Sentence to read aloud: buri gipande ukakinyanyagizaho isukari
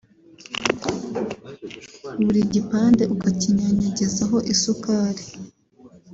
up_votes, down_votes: 1, 2